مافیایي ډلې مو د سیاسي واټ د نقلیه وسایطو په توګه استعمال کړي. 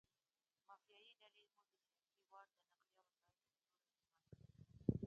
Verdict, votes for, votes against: rejected, 1, 2